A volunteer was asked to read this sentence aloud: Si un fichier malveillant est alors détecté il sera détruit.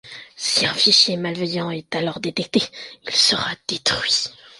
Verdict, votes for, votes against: accepted, 2, 0